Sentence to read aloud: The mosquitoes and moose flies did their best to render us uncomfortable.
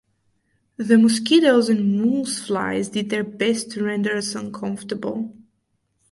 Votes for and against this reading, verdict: 2, 2, rejected